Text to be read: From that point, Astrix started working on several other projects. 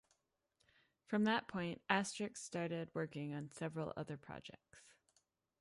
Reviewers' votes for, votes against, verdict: 1, 2, rejected